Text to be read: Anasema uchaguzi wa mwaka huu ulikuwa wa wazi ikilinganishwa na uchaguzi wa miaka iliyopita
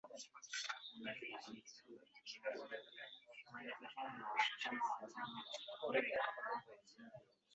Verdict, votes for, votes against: rejected, 0, 2